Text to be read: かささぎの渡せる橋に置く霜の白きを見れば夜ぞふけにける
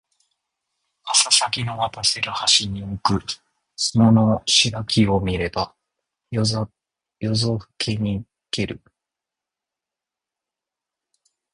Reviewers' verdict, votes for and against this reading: rejected, 1, 2